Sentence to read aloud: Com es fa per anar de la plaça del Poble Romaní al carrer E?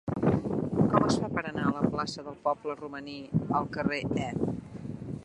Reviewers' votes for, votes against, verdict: 0, 2, rejected